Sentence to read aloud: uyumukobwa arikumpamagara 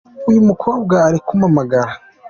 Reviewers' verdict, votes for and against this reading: accepted, 2, 0